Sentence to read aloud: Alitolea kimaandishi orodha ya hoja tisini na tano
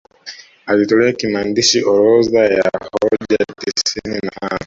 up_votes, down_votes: 1, 2